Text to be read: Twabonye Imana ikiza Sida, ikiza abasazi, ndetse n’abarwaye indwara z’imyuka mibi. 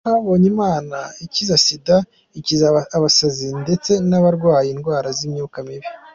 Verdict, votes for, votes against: accepted, 2, 0